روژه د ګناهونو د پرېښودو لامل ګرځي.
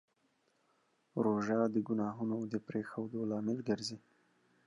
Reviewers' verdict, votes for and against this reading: rejected, 0, 2